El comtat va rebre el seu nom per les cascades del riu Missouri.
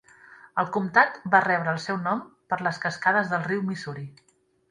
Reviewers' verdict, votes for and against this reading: accepted, 3, 0